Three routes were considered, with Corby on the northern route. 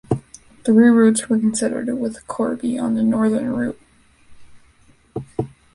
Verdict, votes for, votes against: accepted, 2, 0